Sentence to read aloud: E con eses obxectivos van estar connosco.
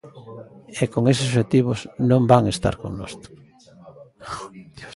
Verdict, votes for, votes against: rejected, 0, 2